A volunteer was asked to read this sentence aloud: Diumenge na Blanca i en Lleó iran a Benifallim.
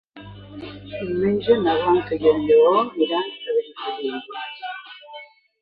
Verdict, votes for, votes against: accepted, 2, 1